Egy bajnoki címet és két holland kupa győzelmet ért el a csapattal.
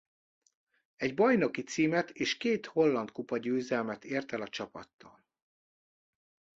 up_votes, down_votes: 2, 0